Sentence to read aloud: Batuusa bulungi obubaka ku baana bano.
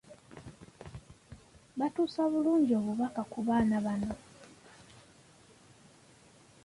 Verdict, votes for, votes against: accepted, 2, 1